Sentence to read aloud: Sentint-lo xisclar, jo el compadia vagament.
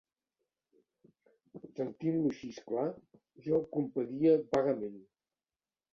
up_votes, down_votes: 2, 0